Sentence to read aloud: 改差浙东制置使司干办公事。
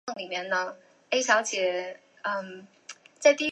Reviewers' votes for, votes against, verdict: 0, 2, rejected